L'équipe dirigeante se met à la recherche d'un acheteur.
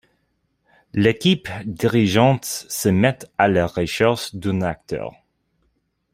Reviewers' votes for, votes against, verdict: 0, 2, rejected